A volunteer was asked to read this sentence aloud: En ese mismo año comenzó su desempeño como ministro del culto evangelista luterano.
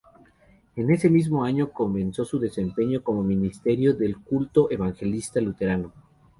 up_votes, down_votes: 0, 2